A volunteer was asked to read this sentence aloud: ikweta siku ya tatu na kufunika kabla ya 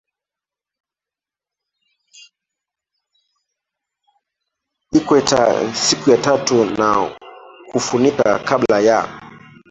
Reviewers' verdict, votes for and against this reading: rejected, 0, 2